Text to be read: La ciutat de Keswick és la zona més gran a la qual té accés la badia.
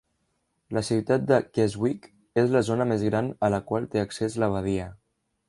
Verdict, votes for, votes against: accepted, 2, 0